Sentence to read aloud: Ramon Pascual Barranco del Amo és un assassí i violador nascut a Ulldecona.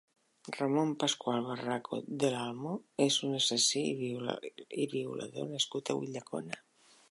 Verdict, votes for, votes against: rejected, 0, 2